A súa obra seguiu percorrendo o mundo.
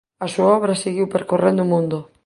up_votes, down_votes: 1, 2